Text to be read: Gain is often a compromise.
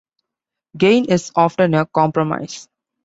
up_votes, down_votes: 2, 0